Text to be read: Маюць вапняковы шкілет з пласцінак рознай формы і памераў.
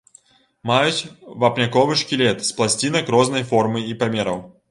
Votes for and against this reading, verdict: 2, 0, accepted